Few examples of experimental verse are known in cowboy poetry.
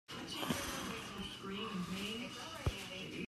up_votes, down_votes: 0, 2